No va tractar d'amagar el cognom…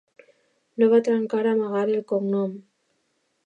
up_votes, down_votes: 2, 0